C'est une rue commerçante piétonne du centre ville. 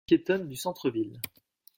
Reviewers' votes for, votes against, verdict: 1, 2, rejected